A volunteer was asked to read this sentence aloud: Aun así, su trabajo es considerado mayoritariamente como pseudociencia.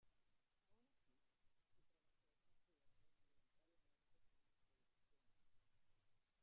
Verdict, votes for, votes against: rejected, 0, 2